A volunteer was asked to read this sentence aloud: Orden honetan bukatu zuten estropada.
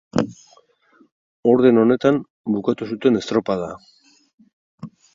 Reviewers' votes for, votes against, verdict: 8, 0, accepted